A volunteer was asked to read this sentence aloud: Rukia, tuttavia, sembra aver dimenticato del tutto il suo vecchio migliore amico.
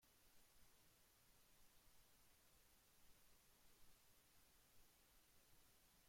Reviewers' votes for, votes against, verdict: 0, 2, rejected